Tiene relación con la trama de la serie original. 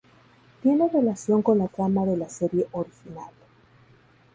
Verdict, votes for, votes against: accepted, 2, 0